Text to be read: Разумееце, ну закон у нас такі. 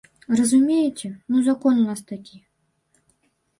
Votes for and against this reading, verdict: 2, 0, accepted